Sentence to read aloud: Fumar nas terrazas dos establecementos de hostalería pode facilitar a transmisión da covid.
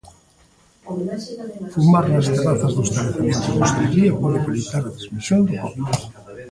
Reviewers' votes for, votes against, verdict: 0, 2, rejected